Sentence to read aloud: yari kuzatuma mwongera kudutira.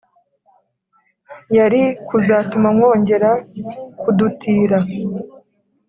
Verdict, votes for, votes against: accepted, 4, 0